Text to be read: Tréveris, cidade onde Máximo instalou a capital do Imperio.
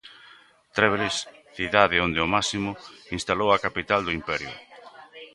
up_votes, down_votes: 1, 2